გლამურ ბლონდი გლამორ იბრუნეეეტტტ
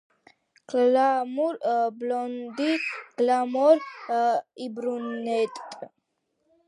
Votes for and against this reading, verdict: 0, 2, rejected